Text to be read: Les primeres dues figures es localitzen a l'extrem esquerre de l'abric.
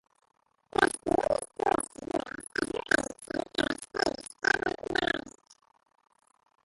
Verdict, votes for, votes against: rejected, 0, 2